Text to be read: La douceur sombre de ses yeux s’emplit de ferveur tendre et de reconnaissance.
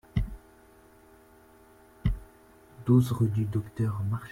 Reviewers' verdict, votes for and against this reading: rejected, 0, 2